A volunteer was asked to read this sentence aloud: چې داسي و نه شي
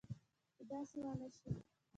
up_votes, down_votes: 1, 2